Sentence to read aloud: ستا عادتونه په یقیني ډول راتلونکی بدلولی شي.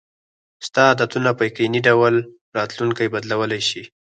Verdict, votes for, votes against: accepted, 4, 2